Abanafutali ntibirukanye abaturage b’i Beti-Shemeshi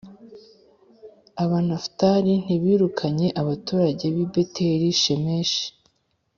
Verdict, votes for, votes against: accepted, 4, 0